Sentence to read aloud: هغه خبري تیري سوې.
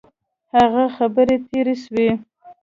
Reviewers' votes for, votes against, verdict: 2, 0, accepted